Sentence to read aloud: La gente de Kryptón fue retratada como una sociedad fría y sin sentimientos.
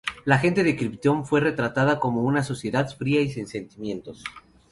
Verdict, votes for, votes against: accepted, 2, 0